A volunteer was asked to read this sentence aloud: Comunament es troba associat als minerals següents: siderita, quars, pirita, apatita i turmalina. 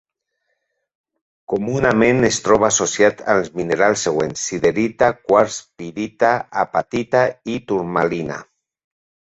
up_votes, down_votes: 2, 0